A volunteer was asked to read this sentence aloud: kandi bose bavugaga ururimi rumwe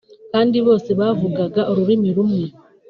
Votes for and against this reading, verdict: 3, 1, accepted